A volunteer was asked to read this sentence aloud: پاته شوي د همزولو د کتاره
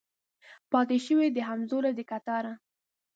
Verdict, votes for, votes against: accepted, 2, 0